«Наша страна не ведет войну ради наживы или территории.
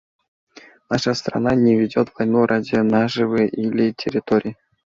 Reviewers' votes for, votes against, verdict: 2, 0, accepted